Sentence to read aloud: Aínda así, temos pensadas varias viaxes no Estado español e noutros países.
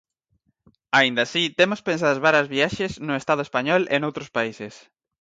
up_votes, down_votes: 2, 4